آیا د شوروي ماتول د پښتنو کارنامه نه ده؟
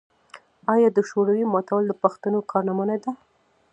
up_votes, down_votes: 2, 0